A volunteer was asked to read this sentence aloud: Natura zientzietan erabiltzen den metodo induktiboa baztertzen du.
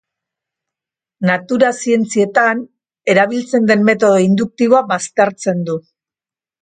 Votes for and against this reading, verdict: 2, 0, accepted